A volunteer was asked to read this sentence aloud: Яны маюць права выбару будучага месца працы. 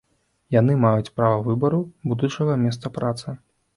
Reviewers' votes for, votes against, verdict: 2, 0, accepted